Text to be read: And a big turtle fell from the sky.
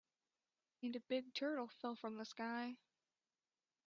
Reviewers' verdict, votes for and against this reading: accepted, 2, 0